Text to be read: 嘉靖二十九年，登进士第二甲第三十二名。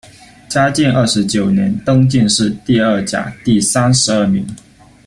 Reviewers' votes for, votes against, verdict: 2, 0, accepted